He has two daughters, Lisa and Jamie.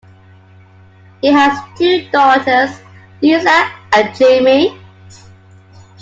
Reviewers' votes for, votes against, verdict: 2, 0, accepted